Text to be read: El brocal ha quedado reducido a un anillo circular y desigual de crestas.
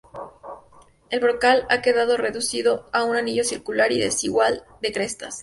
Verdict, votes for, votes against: accepted, 2, 0